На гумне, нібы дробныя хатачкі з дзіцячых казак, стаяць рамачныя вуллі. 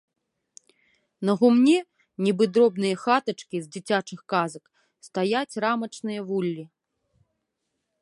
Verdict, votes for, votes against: accepted, 2, 0